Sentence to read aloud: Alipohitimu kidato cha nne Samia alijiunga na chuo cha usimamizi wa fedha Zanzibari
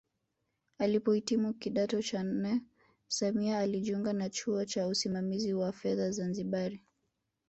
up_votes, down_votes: 3, 0